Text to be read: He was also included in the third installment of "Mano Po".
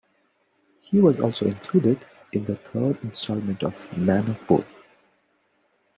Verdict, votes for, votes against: accepted, 2, 1